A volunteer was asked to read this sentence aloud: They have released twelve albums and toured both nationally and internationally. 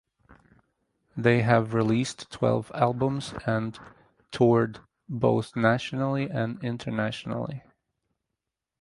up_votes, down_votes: 4, 0